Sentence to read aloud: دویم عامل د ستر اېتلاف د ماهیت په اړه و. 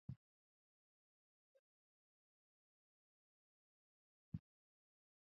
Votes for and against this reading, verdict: 1, 2, rejected